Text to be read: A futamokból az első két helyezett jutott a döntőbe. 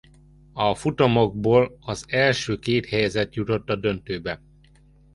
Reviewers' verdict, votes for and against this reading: accepted, 2, 0